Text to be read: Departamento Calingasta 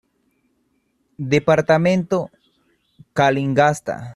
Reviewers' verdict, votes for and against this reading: accepted, 2, 0